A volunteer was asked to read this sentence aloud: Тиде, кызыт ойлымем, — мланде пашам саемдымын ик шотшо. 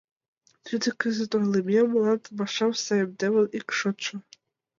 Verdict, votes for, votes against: accepted, 2, 0